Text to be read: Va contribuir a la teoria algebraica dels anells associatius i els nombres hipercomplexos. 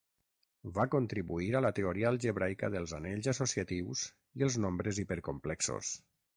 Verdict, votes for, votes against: accepted, 6, 0